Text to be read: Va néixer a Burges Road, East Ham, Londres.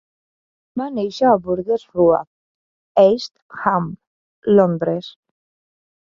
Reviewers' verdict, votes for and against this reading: rejected, 1, 2